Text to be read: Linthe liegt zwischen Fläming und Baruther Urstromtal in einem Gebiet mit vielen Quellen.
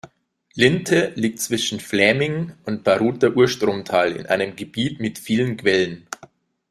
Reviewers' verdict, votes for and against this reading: accepted, 2, 0